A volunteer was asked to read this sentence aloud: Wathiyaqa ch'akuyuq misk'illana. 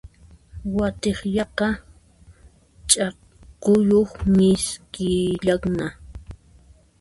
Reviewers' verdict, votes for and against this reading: rejected, 0, 2